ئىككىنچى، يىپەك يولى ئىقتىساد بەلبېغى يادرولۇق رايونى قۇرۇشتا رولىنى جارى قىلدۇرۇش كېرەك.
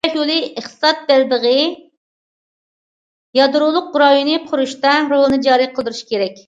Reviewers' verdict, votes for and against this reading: rejected, 0, 2